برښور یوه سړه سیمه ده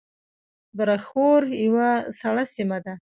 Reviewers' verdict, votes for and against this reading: accepted, 2, 0